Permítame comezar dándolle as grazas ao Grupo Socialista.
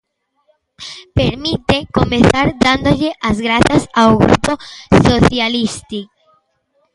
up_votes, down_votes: 0, 2